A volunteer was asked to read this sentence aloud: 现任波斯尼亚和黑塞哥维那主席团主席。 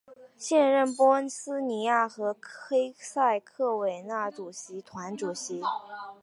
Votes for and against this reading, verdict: 1, 2, rejected